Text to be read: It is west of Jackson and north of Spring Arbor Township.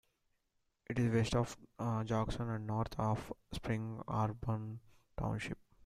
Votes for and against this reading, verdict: 1, 2, rejected